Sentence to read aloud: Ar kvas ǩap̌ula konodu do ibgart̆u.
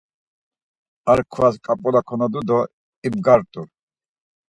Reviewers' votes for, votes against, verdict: 4, 0, accepted